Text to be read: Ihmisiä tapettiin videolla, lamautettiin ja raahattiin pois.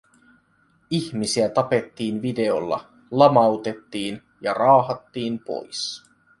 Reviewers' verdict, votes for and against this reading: accepted, 2, 1